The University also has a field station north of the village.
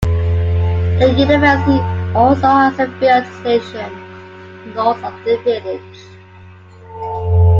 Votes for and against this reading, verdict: 2, 0, accepted